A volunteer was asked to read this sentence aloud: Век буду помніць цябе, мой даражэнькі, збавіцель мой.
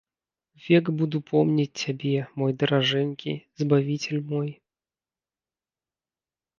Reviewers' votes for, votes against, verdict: 2, 0, accepted